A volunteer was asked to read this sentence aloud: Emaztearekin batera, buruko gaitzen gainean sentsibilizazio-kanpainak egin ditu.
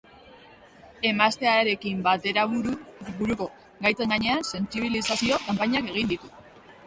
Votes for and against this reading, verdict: 0, 2, rejected